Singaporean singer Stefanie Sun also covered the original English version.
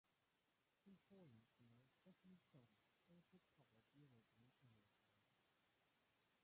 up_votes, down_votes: 0, 2